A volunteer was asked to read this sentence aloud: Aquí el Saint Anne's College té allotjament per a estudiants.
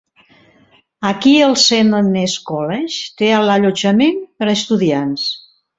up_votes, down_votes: 1, 2